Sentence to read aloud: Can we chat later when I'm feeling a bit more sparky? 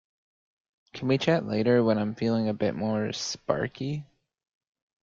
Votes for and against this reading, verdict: 1, 2, rejected